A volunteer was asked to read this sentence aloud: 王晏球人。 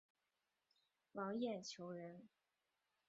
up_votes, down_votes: 3, 1